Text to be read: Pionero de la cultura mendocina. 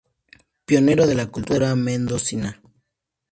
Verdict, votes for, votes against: accepted, 2, 0